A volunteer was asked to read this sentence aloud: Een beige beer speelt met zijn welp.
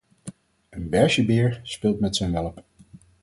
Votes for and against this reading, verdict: 4, 0, accepted